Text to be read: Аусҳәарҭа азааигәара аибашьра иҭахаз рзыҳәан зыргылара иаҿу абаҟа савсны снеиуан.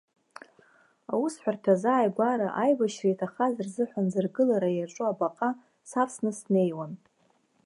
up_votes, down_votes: 2, 1